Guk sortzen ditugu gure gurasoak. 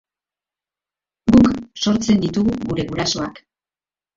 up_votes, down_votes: 2, 0